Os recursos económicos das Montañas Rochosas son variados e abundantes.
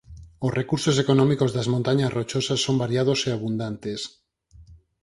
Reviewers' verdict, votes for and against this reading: accepted, 4, 0